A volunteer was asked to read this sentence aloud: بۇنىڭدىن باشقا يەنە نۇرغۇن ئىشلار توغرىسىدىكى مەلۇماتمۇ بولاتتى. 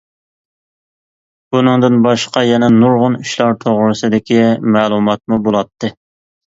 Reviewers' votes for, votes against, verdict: 2, 0, accepted